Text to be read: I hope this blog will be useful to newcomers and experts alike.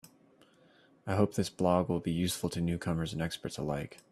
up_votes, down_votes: 3, 0